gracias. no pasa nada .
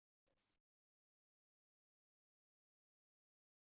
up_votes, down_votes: 0, 2